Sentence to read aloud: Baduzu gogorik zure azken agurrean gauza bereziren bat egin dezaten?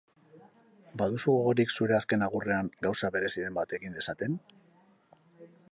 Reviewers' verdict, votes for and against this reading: accepted, 4, 2